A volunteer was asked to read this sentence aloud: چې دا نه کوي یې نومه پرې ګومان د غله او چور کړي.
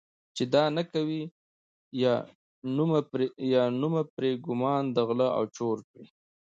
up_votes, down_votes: 0, 2